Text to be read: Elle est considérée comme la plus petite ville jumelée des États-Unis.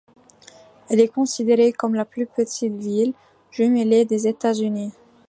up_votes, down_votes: 2, 0